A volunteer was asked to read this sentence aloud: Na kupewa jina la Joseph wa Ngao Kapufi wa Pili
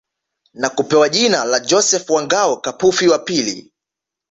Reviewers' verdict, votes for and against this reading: accepted, 2, 0